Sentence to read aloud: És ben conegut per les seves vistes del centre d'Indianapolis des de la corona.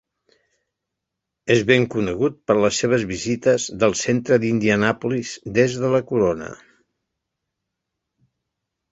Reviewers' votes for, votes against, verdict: 0, 2, rejected